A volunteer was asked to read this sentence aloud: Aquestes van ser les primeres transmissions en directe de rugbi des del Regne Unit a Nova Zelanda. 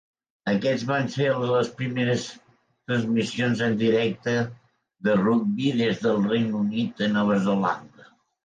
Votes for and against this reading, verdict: 1, 2, rejected